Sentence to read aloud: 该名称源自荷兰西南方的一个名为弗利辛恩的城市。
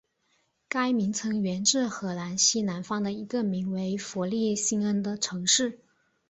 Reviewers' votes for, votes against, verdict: 2, 0, accepted